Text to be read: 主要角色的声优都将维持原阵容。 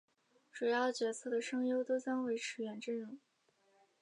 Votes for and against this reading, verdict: 2, 1, accepted